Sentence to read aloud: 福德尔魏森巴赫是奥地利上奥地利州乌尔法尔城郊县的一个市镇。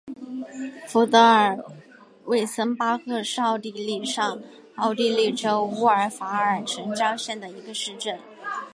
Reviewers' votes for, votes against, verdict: 2, 1, accepted